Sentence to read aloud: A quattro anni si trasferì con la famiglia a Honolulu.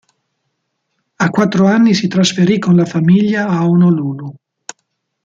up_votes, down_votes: 2, 0